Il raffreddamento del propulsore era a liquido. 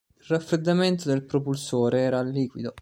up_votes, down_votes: 1, 2